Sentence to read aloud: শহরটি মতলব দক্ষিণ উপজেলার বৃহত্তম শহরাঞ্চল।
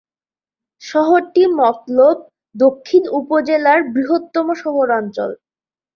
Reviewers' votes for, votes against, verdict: 2, 0, accepted